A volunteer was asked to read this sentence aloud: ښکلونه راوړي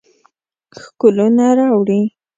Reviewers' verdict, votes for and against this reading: accepted, 2, 0